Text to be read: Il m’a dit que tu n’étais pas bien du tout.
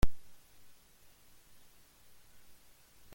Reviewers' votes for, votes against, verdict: 0, 2, rejected